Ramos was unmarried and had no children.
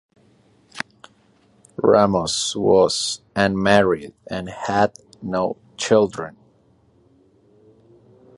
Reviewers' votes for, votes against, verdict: 3, 0, accepted